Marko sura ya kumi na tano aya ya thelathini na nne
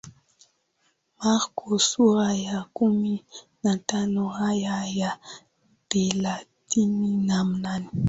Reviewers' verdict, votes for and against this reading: accepted, 9, 1